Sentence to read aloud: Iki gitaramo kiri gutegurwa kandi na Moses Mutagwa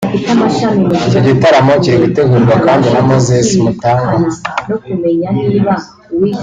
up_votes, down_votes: 2, 1